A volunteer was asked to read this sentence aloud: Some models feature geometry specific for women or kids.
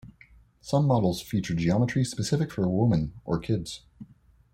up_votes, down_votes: 2, 0